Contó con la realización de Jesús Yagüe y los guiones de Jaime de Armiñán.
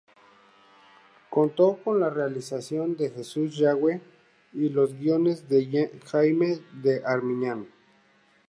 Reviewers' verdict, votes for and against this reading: rejected, 0, 2